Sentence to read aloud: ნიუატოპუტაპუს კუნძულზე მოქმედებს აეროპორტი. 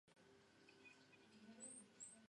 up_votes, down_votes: 0, 2